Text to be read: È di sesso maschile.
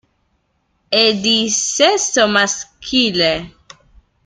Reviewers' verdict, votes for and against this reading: rejected, 1, 2